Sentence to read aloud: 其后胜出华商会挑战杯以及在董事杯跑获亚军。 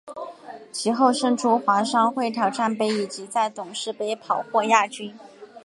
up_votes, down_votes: 8, 0